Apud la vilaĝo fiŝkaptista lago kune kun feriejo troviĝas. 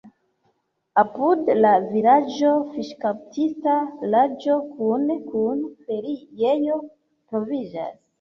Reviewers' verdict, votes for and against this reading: rejected, 0, 2